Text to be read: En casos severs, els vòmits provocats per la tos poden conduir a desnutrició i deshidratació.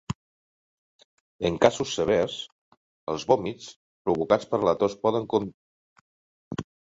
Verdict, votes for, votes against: rejected, 0, 2